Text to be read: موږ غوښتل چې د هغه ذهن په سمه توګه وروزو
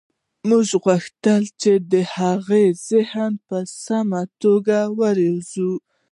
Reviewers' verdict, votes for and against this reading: rejected, 0, 2